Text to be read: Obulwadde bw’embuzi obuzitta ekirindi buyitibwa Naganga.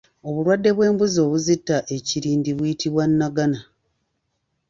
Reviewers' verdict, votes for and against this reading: rejected, 1, 2